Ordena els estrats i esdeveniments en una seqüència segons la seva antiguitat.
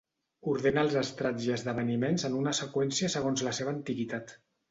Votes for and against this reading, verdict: 2, 0, accepted